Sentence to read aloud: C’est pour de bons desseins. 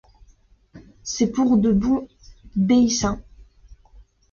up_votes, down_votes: 1, 2